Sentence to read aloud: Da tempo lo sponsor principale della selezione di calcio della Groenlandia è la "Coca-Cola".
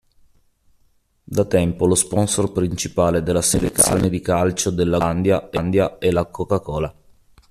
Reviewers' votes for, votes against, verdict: 0, 2, rejected